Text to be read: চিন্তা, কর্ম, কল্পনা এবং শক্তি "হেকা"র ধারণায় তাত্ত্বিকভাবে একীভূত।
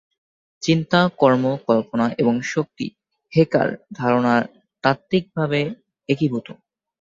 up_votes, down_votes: 2, 0